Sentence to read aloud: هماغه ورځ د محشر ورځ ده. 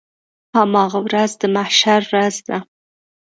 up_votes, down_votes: 2, 0